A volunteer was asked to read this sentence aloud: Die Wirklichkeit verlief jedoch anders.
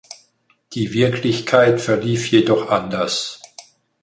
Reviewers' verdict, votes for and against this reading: accepted, 4, 0